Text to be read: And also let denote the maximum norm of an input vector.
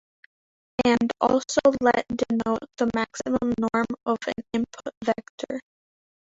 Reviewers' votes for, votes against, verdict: 2, 1, accepted